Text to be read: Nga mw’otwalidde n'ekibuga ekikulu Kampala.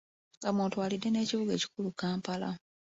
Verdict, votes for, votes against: accepted, 3, 1